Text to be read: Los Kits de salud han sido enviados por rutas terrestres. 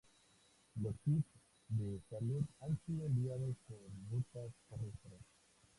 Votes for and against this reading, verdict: 2, 0, accepted